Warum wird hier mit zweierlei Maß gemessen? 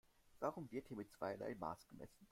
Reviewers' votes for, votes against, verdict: 0, 2, rejected